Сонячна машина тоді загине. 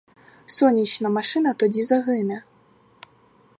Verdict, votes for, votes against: rejected, 2, 2